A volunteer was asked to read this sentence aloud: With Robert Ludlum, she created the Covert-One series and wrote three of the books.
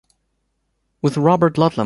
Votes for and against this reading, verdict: 1, 2, rejected